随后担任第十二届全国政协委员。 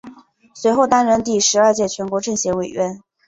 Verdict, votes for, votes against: accepted, 6, 0